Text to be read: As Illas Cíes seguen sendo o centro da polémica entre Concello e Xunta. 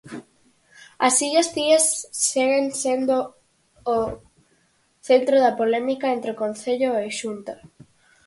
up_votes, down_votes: 0, 4